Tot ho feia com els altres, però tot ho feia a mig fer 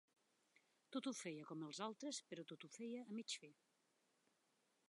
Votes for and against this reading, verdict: 0, 2, rejected